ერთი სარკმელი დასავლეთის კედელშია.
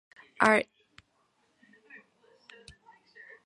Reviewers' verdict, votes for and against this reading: rejected, 0, 2